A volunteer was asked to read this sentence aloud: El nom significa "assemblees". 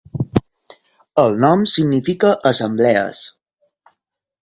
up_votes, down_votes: 4, 0